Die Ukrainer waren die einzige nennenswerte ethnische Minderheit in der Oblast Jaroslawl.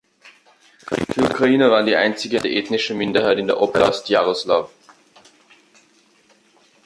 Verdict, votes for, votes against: rejected, 0, 2